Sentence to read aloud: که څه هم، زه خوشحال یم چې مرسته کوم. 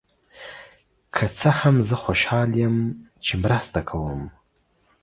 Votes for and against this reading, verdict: 2, 0, accepted